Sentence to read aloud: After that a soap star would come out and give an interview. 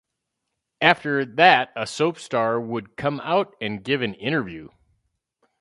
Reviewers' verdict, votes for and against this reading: accepted, 6, 0